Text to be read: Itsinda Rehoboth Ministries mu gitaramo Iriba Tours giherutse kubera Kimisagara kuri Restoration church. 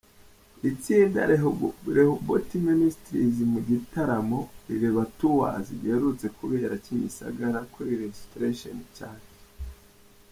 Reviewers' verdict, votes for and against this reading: rejected, 0, 2